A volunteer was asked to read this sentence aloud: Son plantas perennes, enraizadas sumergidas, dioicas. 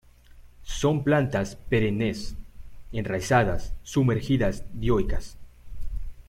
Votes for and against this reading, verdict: 2, 0, accepted